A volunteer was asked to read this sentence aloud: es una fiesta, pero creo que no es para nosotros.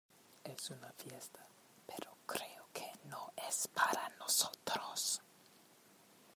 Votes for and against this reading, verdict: 2, 0, accepted